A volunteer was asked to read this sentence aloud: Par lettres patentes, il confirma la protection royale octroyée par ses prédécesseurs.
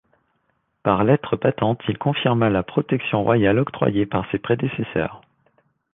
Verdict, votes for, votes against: accepted, 2, 0